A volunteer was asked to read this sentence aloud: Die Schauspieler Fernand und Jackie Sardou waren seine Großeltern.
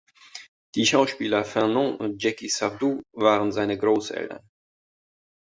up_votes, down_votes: 2, 0